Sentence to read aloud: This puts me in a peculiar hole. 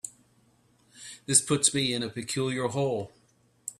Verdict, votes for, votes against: accepted, 2, 0